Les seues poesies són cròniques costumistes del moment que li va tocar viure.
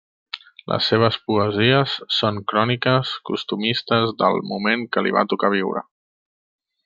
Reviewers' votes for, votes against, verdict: 2, 0, accepted